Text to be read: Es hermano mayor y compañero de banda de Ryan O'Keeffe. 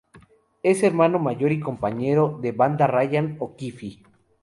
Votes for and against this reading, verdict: 0, 4, rejected